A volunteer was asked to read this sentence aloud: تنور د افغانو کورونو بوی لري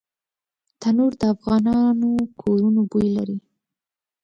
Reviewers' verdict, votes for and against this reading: accepted, 2, 0